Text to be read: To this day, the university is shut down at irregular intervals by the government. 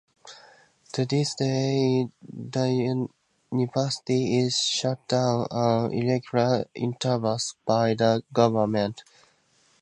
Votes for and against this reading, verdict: 0, 2, rejected